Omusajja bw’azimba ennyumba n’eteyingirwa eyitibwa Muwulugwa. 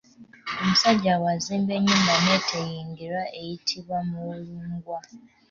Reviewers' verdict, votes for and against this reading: rejected, 0, 2